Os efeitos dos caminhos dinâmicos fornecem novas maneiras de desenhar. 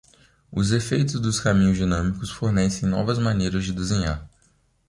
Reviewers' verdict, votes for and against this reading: accepted, 2, 0